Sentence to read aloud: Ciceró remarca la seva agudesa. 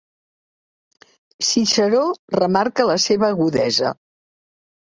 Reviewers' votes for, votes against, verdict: 2, 0, accepted